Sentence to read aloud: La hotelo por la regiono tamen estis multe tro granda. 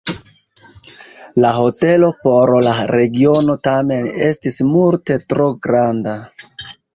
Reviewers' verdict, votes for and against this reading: rejected, 1, 2